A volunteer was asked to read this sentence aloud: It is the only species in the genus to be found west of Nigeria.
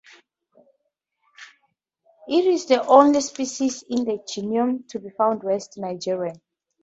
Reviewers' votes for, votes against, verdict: 2, 4, rejected